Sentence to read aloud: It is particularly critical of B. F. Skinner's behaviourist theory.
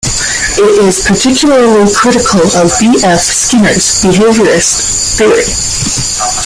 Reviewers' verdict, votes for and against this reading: rejected, 0, 2